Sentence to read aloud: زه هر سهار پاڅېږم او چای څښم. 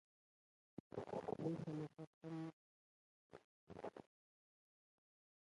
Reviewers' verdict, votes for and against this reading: rejected, 0, 2